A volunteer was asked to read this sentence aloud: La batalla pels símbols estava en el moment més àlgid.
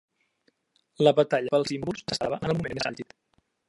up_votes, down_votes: 0, 2